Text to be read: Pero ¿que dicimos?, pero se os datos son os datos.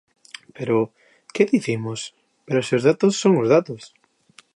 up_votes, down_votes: 2, 0